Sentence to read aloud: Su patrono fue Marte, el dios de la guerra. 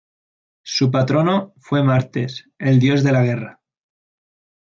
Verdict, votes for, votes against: rejected, 0, 2